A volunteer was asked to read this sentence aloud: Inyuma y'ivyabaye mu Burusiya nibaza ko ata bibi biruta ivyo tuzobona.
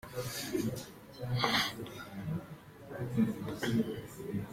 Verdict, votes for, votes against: rejected, 0, 3